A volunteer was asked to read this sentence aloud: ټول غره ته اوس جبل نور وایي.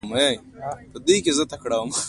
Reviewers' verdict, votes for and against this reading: rejected, 0, 2